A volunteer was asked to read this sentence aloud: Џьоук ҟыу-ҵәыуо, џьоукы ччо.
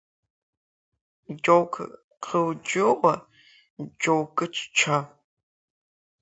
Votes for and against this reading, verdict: 0, 2, rejected